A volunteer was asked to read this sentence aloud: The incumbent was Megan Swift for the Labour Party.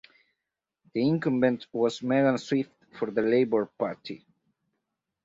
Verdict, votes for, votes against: accepted, 4, 0